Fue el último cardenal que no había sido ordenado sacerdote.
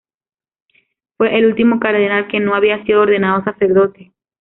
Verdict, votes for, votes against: accepted, 2, 0